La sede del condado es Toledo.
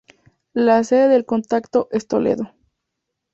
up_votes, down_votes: 0, 2